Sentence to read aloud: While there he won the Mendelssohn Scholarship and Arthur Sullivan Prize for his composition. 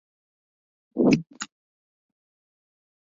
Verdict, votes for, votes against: rejected, 0, 2